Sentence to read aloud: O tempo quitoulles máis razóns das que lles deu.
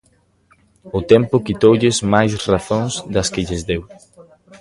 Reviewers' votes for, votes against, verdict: 0, 2, rejected